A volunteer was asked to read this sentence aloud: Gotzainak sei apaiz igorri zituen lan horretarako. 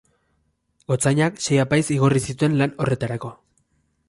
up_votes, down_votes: 2, 0